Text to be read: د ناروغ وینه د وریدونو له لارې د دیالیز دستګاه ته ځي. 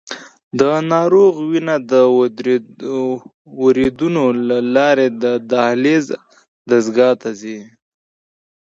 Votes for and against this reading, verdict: 2, 0, accepted